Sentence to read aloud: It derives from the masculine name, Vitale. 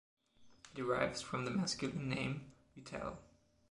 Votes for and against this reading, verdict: 0, 2, rejected